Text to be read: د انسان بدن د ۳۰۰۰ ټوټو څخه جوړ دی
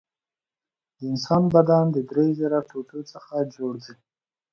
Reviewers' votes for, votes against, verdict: 0, 2, rejected